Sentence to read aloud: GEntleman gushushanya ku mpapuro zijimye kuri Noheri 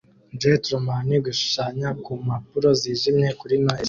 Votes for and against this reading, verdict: 2, 0, accepted